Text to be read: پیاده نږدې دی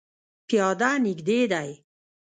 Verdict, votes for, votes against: rejected, 1, 2